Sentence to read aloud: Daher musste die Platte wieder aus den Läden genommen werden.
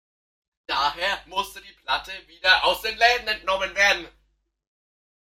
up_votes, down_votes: 0, 2